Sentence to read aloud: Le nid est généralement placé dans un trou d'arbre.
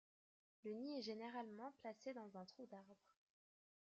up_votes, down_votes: 1, 2